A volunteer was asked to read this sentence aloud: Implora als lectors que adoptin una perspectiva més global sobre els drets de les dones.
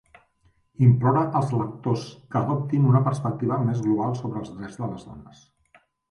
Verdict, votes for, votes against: accepted, 2, 0